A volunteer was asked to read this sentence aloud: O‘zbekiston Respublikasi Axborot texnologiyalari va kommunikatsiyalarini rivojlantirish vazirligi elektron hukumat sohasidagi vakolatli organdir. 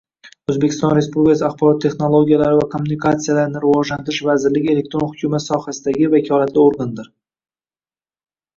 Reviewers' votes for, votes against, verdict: 2, 1, accepted